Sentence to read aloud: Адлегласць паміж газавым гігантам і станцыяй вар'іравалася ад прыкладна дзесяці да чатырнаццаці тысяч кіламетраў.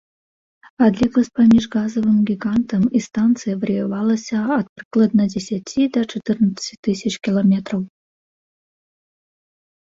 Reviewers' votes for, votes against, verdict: 1, 2, rejected